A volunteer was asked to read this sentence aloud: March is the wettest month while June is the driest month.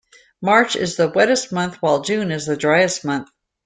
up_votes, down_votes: 2, 0